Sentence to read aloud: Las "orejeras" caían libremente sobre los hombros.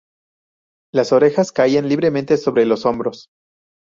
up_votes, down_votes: 0, 2